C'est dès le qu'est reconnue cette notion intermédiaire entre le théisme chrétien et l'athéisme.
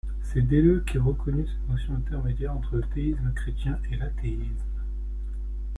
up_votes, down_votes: 2, 0